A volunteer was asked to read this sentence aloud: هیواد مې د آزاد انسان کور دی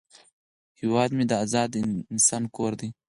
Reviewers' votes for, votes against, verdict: 4, 0, accepted